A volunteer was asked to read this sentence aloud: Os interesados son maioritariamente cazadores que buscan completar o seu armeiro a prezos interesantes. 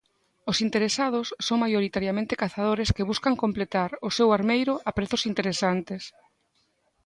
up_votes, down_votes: 2, 0